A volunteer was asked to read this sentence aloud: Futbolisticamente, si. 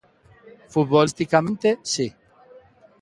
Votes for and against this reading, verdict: 2, 1, accepted